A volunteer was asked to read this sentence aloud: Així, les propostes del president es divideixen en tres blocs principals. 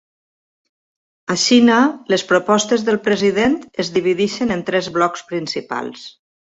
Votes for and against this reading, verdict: 1, 2, rejected